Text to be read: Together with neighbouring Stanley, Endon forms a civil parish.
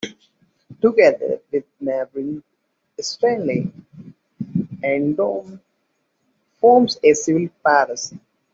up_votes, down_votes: 0, 2